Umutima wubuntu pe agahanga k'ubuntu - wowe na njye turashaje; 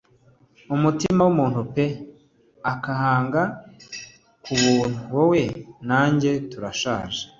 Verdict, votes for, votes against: rejected, 1, 2